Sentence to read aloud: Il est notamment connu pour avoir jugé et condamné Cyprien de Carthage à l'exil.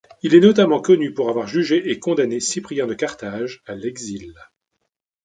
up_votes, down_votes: 3, 0